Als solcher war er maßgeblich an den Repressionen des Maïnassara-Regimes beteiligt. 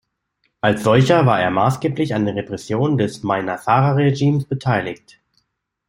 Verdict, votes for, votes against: accepted, 2, 0